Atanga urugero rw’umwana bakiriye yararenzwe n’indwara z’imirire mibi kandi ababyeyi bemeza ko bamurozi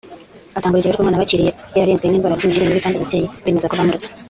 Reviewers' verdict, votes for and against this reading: rejected, 0, 2